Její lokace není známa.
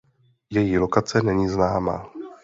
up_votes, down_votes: 2, 0